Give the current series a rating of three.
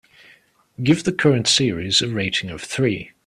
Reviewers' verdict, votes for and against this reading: accepted, 2, 0